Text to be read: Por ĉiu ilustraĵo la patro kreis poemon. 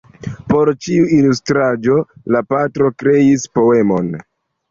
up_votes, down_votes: 2, 0